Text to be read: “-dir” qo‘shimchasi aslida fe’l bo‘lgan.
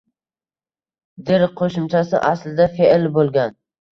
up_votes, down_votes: 2, 1